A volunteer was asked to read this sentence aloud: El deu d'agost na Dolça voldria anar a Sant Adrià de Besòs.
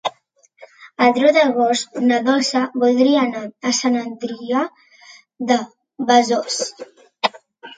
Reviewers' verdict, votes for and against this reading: accepted, 2, 0